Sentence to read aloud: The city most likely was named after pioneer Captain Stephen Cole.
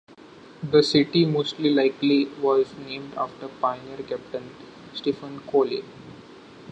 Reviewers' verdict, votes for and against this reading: rejected, 0, 2